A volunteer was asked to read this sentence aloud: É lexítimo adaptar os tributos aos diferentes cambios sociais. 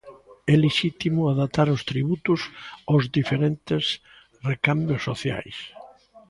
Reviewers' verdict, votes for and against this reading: rejected, 0, 2